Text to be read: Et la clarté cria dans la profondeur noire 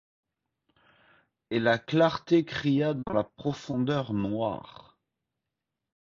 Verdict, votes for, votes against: accepted, 2, 0